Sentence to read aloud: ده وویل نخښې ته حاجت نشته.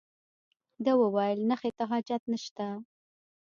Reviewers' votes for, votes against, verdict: 1, 2, rejected